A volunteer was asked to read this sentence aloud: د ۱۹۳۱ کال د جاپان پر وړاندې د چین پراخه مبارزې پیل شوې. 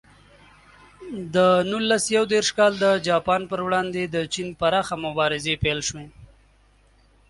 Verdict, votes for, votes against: rejected, 0, 2